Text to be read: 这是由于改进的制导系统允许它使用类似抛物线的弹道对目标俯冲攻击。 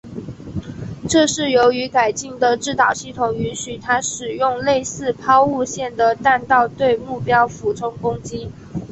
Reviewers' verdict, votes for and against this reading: accepted, 2, 0